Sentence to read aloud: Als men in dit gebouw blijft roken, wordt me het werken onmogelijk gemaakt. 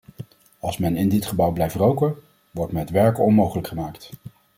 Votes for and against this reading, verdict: 2, 0, accepted